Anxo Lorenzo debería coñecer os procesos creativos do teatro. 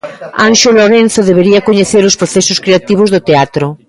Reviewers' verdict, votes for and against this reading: accepted, 3, 0